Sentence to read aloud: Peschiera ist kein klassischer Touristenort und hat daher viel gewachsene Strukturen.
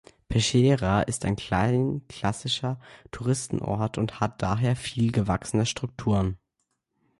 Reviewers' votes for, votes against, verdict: 0, 2, rejected